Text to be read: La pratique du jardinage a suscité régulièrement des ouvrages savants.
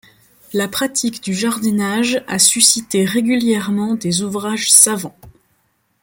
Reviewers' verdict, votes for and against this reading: accepted, 3, 0